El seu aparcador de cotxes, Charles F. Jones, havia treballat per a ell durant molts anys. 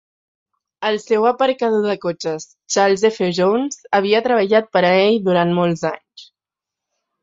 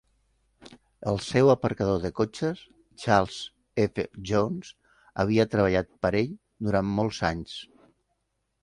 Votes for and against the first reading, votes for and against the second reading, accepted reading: 2, 0, 1, 2, first